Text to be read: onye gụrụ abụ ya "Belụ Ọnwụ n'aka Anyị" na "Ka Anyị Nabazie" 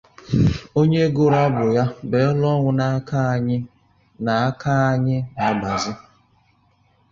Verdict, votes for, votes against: rejected, 0, 2